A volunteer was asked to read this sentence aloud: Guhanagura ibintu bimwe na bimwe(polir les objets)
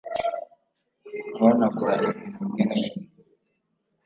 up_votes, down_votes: 1, 2